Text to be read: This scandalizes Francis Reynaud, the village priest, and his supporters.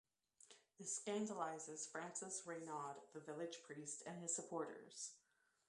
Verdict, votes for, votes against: rejected, 1, 2